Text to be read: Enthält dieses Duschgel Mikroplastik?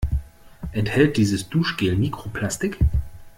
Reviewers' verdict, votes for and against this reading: accepted, 2, 0